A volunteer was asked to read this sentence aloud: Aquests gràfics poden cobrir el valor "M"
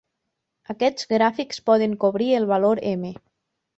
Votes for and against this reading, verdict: 4, 0, accepted